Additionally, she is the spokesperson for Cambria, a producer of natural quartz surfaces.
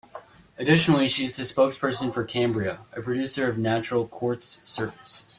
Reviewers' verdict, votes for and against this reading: accepted, 2, 0